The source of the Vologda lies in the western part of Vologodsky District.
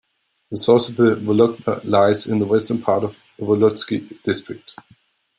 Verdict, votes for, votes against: accepted, 2, 1